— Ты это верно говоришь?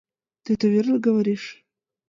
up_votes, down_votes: 2, 0